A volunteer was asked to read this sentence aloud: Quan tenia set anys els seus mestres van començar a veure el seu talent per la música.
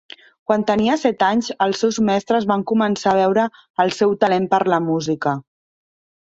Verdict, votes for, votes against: accepted, 3, 0